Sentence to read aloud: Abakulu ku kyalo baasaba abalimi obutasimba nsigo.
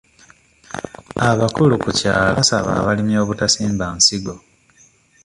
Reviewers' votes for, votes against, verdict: 1, 2, rejected